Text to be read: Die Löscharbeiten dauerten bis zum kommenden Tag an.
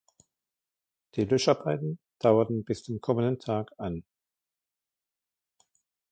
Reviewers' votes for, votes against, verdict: 2, 0, accepted